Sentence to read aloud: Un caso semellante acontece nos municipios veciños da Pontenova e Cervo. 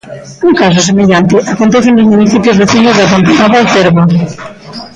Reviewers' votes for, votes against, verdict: 0, 3, rejected